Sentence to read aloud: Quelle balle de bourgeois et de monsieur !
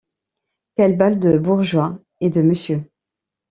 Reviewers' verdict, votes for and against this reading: accepted, 2, 1